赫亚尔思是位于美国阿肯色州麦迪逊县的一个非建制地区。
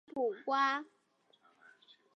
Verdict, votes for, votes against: rejected, 0, 2